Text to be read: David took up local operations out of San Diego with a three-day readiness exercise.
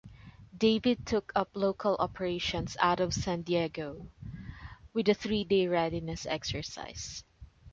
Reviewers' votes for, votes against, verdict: 2, 0, accepted